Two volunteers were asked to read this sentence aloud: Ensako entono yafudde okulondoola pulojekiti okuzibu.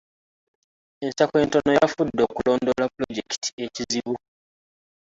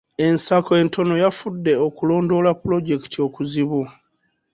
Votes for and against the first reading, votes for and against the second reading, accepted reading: 1, 2, 2, 0, second